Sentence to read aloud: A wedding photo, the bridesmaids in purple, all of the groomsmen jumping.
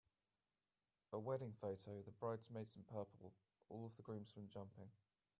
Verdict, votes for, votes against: accepted, 2, 0